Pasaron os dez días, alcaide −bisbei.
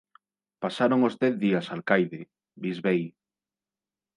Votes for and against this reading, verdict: 2, 0, accepted